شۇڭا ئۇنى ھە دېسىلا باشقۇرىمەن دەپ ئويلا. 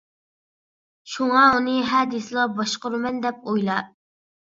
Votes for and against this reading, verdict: 2, 0, accepted